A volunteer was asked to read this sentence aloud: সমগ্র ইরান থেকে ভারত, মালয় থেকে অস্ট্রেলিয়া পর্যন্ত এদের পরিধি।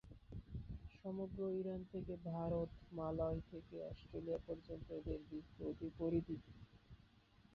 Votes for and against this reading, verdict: 0, 2, rejected